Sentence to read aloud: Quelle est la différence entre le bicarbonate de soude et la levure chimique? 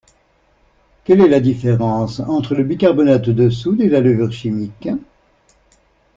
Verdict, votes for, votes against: accepted, 2, 0